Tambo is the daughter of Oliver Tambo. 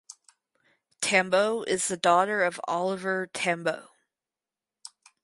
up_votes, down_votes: 4, 0